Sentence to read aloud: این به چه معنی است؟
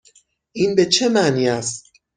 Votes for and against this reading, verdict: 6, 0, accepted